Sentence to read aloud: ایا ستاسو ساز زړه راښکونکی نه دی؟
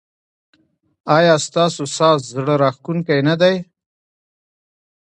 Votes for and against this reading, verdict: 1, 2, rejected